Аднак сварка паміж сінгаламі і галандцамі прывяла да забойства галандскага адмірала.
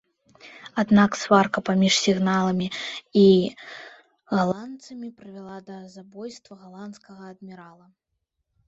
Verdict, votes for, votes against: rejected, 0, 2